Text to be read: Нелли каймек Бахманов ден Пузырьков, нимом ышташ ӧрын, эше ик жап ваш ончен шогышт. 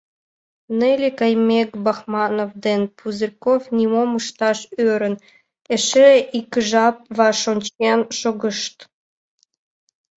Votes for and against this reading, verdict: 2, 1, accepted